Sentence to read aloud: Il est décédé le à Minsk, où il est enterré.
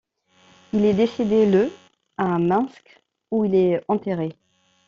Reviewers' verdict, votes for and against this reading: rejected, 1, 2